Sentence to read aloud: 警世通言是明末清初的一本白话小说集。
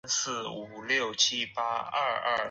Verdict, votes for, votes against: rejected, 1, 5